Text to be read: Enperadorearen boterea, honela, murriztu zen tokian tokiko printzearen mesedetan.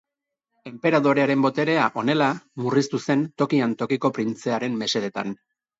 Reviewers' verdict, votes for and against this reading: accepted, 8, 0